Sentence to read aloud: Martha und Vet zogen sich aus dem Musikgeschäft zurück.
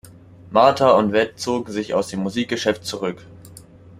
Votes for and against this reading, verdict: 2, 0, accepted